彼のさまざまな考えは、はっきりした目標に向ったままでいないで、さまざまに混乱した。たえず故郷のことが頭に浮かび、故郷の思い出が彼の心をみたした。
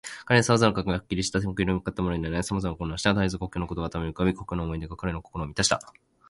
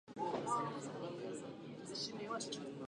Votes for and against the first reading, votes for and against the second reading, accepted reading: 2, 0, 0, 3, first